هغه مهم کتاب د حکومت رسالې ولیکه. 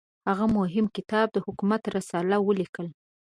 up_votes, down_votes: 0, 2